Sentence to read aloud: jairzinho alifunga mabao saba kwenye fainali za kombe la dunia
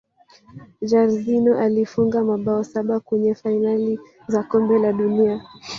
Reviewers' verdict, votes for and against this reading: rejected, 2, 3